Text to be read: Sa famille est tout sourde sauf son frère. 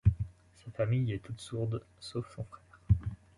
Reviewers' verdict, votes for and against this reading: rejected, 0, 2